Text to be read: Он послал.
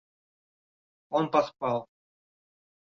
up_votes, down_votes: 1, 2